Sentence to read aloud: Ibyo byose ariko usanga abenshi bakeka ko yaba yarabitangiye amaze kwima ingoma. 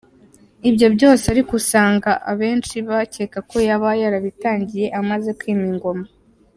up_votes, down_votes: 2, 0